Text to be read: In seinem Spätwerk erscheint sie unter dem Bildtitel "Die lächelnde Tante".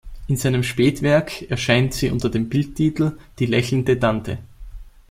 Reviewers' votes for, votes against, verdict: 2, 0, accepted